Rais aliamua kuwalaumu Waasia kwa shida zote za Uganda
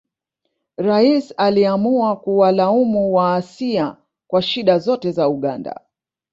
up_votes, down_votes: 1, 2